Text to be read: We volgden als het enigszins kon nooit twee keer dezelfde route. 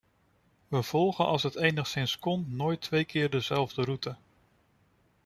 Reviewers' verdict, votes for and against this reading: rejected, 0, 2